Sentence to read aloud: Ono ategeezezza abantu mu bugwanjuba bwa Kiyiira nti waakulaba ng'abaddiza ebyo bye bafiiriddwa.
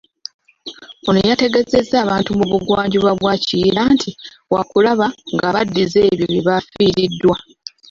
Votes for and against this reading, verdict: 1, 2, rejected